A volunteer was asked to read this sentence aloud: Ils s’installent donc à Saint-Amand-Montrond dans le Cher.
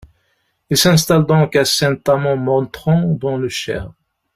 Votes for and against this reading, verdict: 1, 2, rejected